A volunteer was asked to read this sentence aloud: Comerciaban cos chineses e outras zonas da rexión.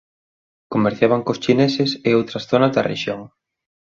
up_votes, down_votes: 2, 0